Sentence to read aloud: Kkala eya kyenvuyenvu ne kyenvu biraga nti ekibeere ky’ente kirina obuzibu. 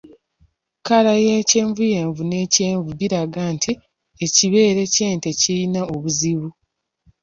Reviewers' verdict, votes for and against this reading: rejected, 0, 2